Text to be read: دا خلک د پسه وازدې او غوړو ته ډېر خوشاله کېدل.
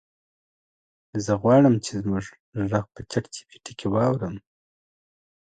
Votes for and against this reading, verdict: 0, 2, rejected